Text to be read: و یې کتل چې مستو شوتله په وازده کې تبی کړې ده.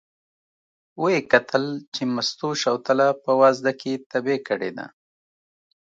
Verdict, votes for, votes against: accepted, 2, 0